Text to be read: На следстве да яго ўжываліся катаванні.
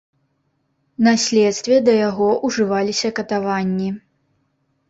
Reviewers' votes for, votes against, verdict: 4, 0, accepted